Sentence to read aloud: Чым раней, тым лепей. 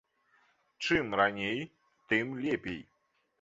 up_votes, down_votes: 2, 0